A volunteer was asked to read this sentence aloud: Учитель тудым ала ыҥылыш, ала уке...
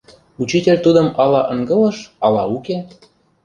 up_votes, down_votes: 0, 2